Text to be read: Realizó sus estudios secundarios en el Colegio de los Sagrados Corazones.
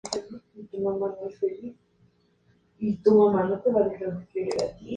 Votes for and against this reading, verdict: 0, 4, rejected